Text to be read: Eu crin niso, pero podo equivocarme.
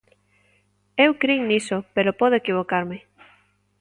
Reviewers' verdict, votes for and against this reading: accepted, 2, 0